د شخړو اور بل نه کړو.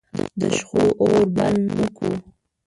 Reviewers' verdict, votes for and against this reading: rejected, 0, 2